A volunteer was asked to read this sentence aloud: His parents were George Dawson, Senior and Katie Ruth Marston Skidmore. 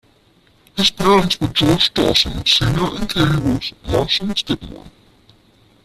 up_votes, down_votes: 0, 2